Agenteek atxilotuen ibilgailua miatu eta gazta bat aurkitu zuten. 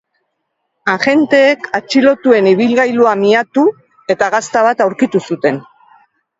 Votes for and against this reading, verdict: 2, 0, accepted